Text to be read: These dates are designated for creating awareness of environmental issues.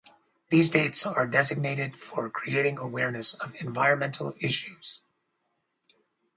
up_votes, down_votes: 4, 0